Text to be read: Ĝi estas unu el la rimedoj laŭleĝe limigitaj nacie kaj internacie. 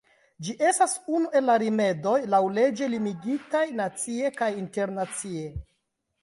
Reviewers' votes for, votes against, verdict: 0, 2, rejected